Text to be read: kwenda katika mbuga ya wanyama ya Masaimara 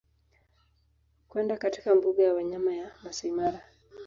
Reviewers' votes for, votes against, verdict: 2, 1, accepted